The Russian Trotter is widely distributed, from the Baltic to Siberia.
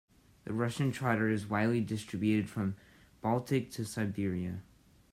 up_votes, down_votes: 2, 0